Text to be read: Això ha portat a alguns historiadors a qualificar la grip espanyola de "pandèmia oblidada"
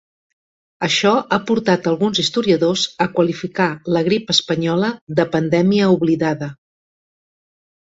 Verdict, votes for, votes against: accepted, 2, 0